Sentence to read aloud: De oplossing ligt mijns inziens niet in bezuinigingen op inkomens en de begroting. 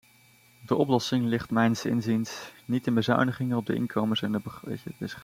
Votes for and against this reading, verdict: 0, 2, rejected